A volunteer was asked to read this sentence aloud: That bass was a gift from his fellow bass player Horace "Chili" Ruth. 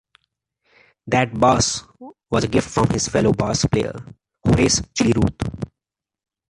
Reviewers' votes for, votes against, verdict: 2, 0, accepted